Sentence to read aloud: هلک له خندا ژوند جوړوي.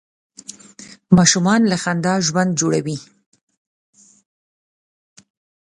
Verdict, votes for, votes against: rejected, 0, 2